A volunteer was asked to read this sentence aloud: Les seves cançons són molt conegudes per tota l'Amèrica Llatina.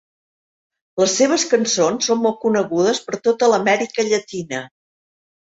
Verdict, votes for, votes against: accepted, 4, 0